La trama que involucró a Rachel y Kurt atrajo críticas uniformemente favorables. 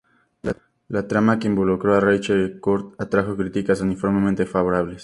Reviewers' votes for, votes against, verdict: 6, 0, accepted